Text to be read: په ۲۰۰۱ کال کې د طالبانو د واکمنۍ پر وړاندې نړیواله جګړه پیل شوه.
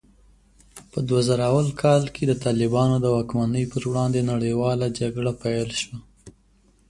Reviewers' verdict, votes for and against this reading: rejected, 0, 2